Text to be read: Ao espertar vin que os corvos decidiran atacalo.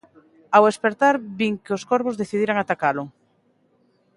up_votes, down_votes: 2, 0